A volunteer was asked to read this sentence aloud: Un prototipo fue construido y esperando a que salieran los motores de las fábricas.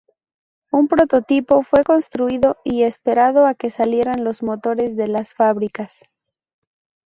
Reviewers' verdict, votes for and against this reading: rejected, 0, 4